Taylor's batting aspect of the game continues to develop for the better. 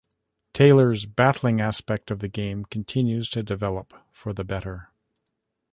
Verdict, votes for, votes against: rejected, 1, 2